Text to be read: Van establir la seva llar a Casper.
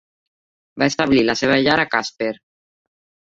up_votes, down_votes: 1, 2